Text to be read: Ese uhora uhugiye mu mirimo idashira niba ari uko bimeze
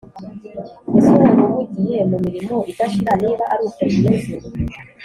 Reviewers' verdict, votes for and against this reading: rejected, 1, 2